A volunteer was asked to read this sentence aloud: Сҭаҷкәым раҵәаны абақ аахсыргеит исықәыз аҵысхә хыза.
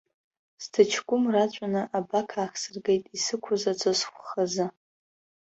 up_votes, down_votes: 2, 0